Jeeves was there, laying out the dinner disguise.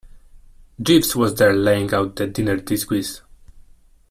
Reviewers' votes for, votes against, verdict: 0, 2, rejected